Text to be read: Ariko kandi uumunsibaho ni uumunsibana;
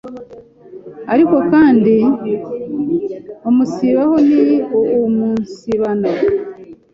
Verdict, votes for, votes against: rejected, 0, 2